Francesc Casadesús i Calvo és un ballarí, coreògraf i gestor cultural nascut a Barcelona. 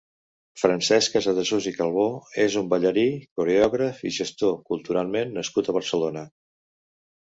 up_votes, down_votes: 1, 2